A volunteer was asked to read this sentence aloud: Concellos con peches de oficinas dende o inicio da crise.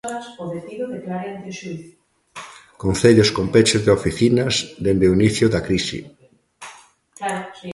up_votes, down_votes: 0, 2